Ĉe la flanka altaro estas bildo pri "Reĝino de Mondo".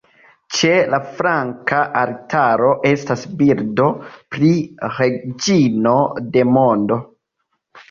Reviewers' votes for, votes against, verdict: 0, 2, rejected